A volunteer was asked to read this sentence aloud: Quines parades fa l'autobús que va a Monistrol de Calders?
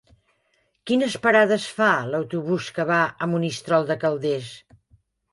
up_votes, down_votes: 3, 0